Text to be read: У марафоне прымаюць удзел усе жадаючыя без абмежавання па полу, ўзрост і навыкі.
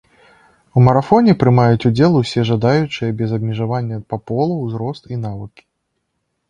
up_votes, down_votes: 2, 0